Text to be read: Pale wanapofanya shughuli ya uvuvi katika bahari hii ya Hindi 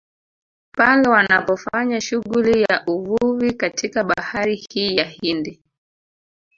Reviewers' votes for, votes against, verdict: 1, 2, rejected